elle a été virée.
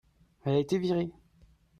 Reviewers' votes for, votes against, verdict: 2, 1, accepted